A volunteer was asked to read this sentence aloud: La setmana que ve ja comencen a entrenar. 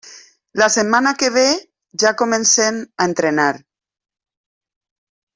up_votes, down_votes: 2, 1